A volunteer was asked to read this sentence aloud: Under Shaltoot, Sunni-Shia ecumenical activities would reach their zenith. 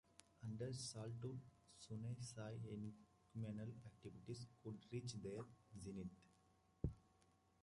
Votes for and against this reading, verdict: 0, 2, rejected